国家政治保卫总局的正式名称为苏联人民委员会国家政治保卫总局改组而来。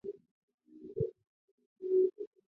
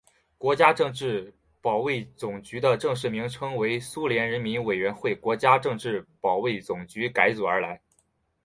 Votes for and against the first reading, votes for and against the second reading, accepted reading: 0, 2, 4, 0, second